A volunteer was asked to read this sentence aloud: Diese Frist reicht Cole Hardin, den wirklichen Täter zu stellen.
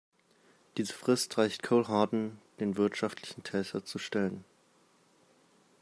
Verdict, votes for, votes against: rejected, 0, 2